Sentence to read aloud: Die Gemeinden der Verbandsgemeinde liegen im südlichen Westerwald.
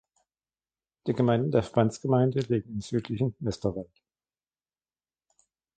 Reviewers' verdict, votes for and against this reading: rejected, 1, 2